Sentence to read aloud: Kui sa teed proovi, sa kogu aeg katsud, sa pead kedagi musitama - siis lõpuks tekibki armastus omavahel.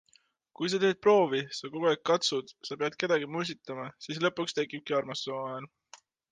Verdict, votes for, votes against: accepted, 2, 0